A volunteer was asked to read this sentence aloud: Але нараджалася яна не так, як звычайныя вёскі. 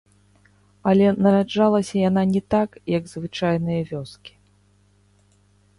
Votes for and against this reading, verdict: 1, 2, rejected